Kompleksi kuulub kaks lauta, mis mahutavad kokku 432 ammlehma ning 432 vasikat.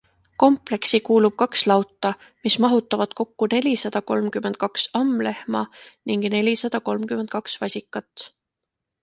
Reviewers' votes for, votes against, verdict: 0, 2, rejected